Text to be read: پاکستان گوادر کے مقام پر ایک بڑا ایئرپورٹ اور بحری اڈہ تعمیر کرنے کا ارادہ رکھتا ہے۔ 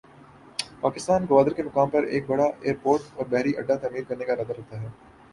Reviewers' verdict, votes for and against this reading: accepted, 9, 2